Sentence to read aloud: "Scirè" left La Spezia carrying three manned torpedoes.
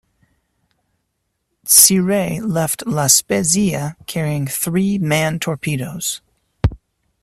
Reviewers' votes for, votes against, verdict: 1, 2, rejected